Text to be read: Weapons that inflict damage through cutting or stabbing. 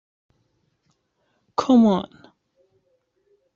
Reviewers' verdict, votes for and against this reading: rejected, 0, 2